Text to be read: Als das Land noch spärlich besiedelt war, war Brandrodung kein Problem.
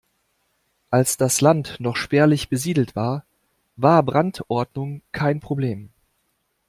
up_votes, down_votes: 0, 2